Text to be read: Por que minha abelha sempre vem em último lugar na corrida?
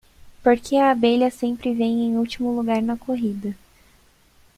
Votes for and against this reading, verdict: 1, 2, rejected